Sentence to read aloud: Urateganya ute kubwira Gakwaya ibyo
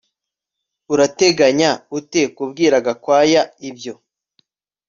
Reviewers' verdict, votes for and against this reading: accepted, 2, 0